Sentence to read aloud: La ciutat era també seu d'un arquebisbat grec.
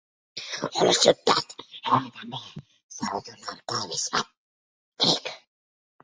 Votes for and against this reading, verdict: 0, 2, rejected